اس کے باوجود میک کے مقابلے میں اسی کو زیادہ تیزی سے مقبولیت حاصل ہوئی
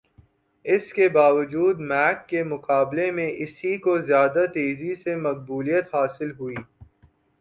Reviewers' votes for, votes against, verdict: 0, 2, rejected